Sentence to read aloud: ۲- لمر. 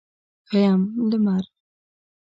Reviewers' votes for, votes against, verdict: 0, 2, rejected